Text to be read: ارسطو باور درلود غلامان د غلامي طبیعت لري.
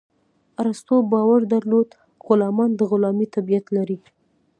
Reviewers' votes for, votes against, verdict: 1, 2, rejected